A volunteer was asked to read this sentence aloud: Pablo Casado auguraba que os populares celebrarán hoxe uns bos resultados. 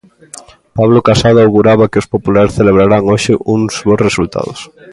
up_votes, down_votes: 1, 2